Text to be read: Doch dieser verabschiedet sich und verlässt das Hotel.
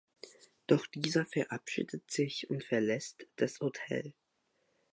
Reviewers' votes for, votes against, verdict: 2, 0, accepted